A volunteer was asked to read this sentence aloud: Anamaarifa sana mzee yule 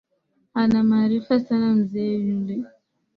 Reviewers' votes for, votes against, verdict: 2, 0, accepted